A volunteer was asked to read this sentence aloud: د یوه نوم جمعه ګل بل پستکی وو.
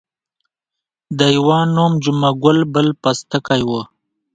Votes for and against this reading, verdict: 2, 0, accepted